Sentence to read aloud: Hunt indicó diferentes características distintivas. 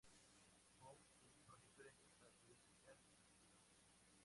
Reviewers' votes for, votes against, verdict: 0, 4, rejected